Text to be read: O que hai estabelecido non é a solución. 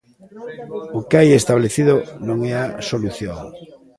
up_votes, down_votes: 0, 2